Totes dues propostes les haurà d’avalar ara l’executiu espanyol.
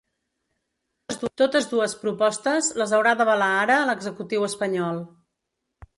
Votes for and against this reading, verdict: 1, 2, rejected